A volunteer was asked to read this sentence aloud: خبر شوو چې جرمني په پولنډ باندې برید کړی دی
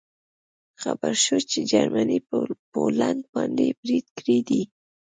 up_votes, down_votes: 0, 2